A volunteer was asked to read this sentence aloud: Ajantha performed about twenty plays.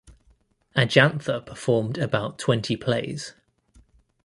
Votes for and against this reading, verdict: 2, 0, accepted